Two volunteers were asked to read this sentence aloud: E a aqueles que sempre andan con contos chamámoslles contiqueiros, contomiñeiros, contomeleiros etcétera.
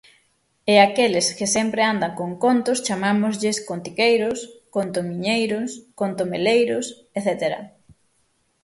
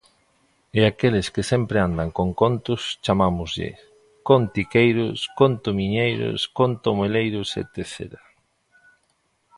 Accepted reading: first